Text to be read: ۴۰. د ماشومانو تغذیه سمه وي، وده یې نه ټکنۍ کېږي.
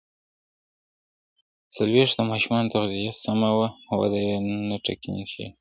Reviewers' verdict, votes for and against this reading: rejected, 0, 2